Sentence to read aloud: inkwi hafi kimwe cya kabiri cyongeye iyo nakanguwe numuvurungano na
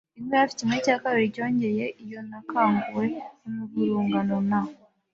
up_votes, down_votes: 1, 2